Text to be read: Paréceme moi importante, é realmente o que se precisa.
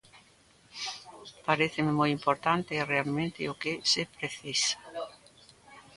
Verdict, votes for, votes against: accepted, 2, 0